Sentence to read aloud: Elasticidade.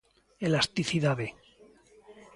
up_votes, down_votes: 2, 0